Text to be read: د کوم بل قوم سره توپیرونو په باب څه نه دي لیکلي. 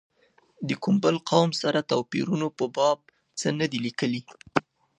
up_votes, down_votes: 2, 0